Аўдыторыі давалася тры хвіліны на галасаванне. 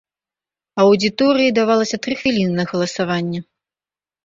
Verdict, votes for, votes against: rejected, 1, 2